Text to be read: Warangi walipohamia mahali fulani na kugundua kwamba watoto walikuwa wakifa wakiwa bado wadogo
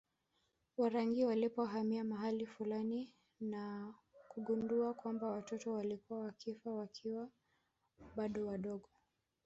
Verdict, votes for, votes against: rejected, 2, 3